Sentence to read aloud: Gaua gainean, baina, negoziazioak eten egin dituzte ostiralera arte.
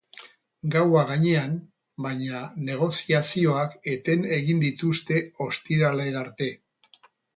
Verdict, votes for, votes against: accepted, 6, 0